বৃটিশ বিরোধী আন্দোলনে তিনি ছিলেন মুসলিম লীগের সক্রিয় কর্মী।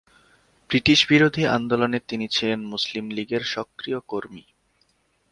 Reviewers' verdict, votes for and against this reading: accepted, 5, 1